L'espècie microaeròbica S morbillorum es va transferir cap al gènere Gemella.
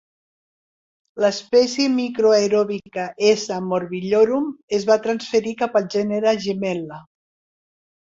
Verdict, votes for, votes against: accepted, 3, 1